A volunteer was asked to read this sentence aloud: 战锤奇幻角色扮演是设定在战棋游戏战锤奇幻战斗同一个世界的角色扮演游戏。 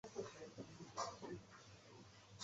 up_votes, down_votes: 0, 2